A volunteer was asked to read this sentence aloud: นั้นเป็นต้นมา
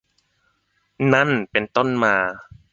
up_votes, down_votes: 1, 2